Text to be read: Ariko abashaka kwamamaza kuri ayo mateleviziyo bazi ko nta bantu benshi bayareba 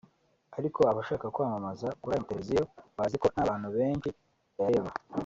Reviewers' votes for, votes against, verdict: 2, 0, accepted